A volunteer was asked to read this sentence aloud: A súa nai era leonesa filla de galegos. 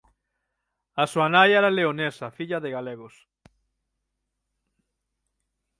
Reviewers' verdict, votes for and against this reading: accepted, 6, 0